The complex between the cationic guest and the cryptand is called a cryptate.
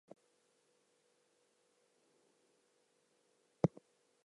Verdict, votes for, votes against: rejected, 0, 2